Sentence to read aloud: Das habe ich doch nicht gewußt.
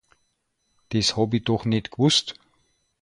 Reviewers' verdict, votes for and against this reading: rejected, 0, 2